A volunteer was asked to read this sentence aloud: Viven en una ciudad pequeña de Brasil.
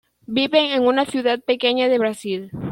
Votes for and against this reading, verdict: 2, 0, accepted